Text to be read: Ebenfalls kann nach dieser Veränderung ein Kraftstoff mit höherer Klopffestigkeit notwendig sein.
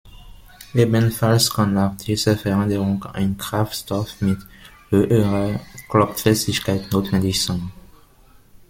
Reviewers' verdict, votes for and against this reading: rejected, 0, 2